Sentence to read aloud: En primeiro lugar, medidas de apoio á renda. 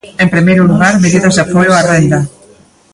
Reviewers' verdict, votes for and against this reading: rejected, 1, 2